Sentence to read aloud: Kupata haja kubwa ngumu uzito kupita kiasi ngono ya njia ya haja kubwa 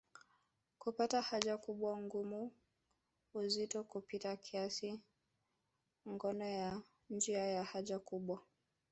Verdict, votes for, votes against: rejected, 3, 5